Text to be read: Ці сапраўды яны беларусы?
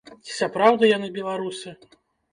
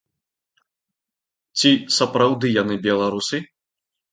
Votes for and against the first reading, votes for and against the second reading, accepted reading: 1, 2, 2, 0, second